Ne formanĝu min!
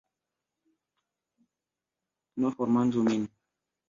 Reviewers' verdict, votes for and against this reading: rejected, 1, 2